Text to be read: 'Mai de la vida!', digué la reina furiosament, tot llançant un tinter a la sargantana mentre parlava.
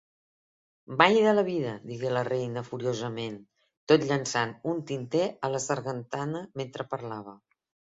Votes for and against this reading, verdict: 3, 0, accepted